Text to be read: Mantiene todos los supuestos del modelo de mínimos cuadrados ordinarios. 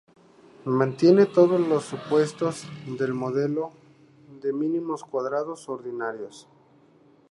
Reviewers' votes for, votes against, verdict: 4, 0, accepted